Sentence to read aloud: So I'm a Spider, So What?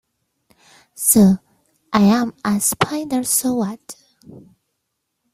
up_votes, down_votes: 0, 2